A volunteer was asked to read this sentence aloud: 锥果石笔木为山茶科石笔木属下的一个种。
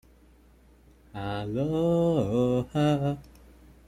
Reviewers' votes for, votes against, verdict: 0, 2, rejected